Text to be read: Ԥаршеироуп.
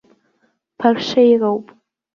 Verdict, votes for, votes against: rejected, 1, 2